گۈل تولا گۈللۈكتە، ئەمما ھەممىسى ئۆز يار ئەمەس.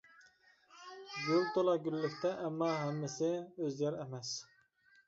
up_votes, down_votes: 2, 0